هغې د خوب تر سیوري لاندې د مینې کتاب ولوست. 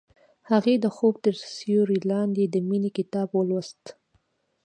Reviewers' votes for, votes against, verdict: 2, 0, accepted